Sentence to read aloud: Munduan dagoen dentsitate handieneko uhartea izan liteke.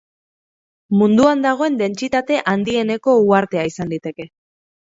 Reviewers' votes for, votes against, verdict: 6, 0, accepted